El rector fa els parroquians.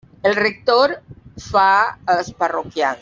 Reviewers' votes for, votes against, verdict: 0, 2, rejected